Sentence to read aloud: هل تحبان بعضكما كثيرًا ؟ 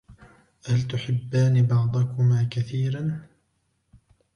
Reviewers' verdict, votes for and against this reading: rejected, 1, 2